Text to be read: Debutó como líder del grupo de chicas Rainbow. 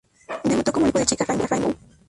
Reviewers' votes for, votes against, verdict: 0, 2, rejected